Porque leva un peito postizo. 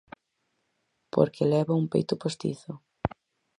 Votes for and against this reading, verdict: 4, 0, accepted